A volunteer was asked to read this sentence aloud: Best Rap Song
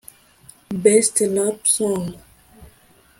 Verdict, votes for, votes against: rejected, 0, 2